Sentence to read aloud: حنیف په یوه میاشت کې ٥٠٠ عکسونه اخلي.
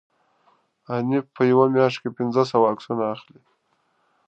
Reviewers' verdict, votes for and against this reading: rejected, 0, 2